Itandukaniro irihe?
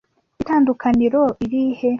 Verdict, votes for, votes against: accepted, 2, 0